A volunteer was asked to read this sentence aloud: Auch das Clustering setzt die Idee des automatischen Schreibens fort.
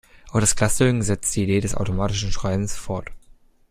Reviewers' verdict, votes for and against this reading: rejected, 1, 2